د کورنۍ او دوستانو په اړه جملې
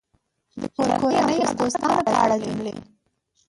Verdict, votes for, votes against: rejected, 0, 2